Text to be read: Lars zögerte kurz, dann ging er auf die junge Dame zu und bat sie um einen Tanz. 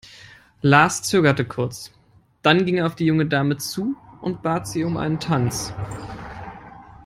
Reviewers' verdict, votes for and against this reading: accepted, 3, 0